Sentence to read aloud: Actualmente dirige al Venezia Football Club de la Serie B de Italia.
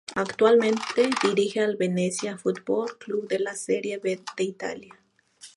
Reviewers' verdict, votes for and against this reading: rejected, 0, 2